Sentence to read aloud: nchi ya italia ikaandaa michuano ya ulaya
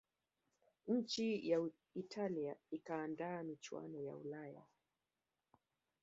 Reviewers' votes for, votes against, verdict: 0, 2, rejected